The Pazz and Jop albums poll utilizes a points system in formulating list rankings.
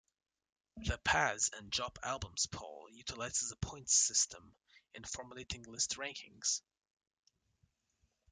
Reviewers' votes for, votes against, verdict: 1, 2, rejected